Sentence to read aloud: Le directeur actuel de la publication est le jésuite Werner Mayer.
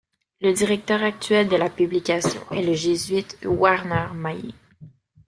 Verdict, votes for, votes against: rejected, 0, 2